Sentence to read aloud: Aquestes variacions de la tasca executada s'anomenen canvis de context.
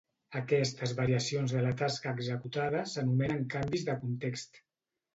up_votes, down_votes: 3, 0